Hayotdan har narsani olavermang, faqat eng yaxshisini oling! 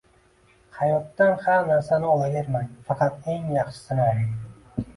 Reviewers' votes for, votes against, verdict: 2, 1, accepted